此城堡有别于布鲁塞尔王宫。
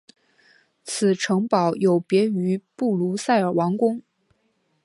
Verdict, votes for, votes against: accepted, 2, 0